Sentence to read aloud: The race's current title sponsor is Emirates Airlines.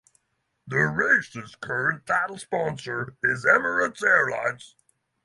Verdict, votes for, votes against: rejected, 3, 3